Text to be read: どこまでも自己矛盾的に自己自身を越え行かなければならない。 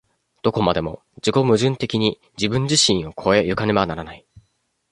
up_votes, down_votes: 0, 2